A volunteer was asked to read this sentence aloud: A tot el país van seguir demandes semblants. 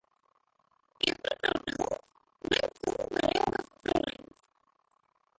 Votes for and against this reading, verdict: 0, 2, rejected